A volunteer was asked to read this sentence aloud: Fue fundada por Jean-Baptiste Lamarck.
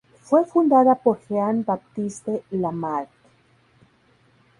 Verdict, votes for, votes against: rejected, 0, 2